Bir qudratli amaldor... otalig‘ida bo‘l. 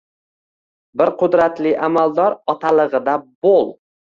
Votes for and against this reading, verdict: 1, 2, rejected